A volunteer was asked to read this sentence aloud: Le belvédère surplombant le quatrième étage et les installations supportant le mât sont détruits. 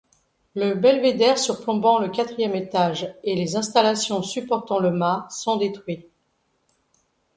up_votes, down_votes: 2, 0